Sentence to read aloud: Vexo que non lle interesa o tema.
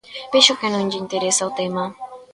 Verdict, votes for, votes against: rejected, 1, 2